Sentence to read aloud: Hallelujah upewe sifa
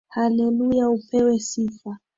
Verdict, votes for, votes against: accepted, 3, 0